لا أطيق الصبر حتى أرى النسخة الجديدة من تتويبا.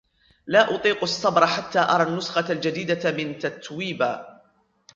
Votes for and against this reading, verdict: 2, 3, rejected